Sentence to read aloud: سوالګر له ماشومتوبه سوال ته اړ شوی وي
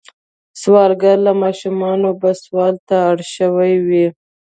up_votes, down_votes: 1, 2